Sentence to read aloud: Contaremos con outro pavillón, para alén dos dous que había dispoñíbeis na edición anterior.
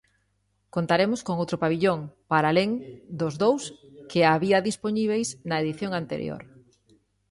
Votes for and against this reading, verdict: 2, 0, accepted